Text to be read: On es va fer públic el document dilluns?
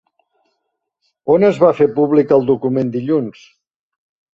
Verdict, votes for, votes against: accepted, 3, 0